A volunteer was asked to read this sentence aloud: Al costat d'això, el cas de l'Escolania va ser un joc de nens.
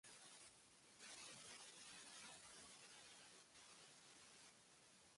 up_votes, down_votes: 0, 2